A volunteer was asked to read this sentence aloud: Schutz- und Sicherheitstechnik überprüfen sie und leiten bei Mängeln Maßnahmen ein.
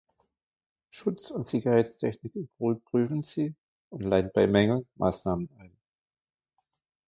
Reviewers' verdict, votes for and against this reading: rejected, 1, 2